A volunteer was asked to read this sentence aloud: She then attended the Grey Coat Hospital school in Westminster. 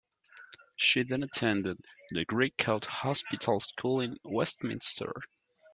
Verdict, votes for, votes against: accepted, 2, 0